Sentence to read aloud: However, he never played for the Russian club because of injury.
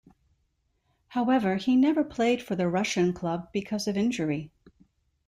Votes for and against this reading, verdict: 2, 0, accepted